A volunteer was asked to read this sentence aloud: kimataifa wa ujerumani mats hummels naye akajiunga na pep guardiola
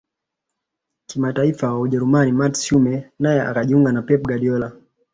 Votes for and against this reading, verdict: 2, 1, accepted